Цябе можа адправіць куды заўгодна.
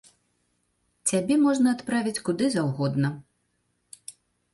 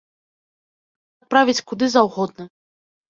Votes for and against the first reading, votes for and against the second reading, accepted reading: 2, 1, 1, 4, first